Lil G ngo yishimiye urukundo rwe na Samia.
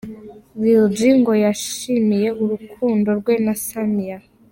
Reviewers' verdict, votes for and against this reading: accepted, 2, 0